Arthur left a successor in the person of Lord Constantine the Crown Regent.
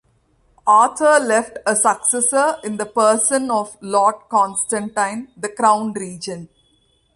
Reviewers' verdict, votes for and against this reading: accepted, 2, 0